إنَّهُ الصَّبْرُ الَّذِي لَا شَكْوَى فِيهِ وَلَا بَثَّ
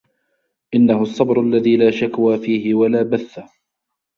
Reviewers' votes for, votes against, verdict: 2, 1, accepted